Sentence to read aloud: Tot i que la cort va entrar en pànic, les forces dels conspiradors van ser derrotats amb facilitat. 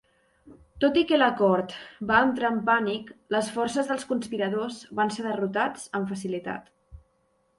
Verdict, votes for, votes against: accepted, 3, 0